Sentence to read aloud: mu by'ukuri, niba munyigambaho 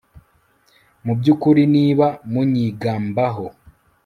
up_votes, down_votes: 2, 0